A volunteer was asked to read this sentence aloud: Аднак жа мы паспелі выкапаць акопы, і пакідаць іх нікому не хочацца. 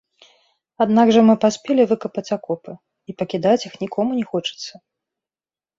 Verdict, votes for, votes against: rejected, 1, 2